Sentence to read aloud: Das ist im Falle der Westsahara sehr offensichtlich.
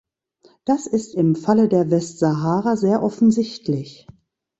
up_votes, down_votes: 2, 0